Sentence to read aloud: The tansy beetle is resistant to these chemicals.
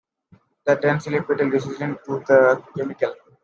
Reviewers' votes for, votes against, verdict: 0, 2, rejected